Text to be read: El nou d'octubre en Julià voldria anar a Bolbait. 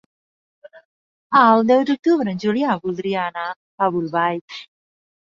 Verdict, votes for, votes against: rejected, 0, 2